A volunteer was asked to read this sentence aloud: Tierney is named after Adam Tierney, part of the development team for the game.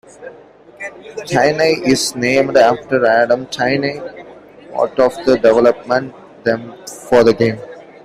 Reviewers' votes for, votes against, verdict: 1, 2, rejected